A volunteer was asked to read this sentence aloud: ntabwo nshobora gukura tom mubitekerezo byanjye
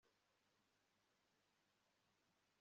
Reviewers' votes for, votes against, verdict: 1, 2, rejected